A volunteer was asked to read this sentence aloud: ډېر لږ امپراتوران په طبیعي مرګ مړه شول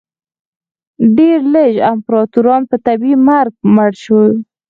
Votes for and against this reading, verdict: 4, 0, accepted